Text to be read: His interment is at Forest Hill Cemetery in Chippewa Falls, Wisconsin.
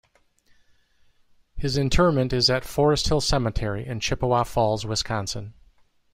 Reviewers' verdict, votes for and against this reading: accepted, 2, 0